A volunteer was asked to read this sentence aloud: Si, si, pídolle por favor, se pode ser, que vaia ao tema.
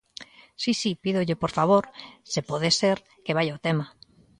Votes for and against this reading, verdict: 2, 0, accepted